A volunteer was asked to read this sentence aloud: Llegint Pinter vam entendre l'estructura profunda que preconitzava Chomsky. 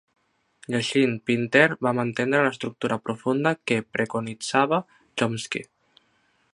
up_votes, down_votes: 2, 0